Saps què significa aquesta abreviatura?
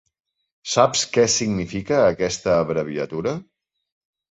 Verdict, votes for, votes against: accepted, 3, 0